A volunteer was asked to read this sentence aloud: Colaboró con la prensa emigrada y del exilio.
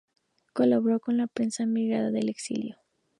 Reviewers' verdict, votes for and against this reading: rejected, 0, 2